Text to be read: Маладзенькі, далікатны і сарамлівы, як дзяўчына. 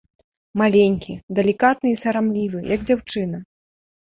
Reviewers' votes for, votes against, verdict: 1, 2, rejected